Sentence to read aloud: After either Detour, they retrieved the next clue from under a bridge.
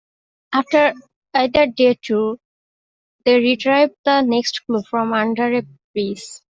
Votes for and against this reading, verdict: 2, 1, accepted